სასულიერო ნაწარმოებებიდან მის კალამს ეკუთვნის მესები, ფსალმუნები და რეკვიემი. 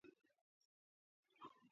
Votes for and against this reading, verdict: 1, 2, rejected